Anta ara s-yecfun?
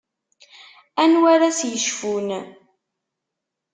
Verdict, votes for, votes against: rejected, 0, 2